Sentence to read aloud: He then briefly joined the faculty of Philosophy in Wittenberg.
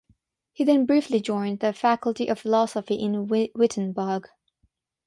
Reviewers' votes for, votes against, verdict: 3, 6, rejected